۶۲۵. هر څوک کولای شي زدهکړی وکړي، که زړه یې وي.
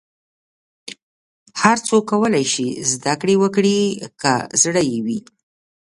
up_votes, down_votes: 0, 2